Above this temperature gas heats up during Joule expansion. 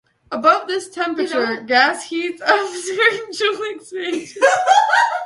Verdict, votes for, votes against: rejected, 1, 2